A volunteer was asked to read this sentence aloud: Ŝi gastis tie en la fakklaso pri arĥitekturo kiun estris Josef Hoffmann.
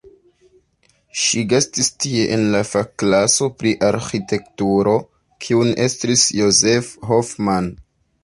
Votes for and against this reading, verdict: 2, 0, accepted